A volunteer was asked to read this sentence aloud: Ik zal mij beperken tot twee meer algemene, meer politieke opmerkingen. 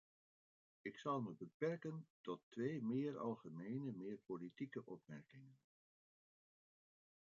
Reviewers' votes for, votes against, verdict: 0, 2, rejected